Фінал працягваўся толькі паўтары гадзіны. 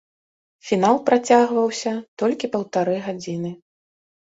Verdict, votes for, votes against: accepted, 3, 0